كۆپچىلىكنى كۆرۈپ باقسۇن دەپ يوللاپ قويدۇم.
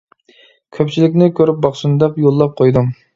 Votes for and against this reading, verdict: 2, 0, accepted